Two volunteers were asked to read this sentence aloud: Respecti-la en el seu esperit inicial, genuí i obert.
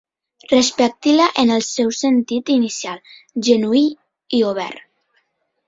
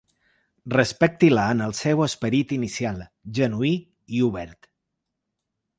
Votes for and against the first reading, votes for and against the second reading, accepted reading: 2, 3, 2, 0, second